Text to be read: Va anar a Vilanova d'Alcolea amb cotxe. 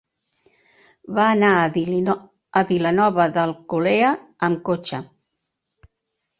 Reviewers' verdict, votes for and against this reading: rejected, 0, 2